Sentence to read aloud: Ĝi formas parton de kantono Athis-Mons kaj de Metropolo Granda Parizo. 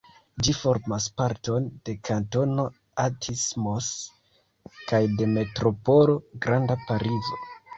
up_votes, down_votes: 1, 2